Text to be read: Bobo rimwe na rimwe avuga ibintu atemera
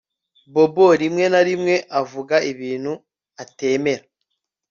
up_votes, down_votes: 2, 0